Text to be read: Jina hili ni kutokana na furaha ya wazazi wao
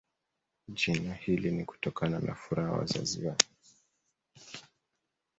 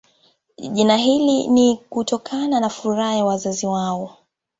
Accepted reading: second